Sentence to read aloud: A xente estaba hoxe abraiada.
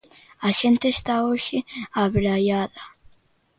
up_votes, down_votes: 0, 2